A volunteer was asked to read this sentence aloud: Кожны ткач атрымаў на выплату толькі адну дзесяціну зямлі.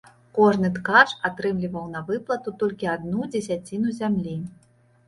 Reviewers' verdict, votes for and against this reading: rejected, 1, 2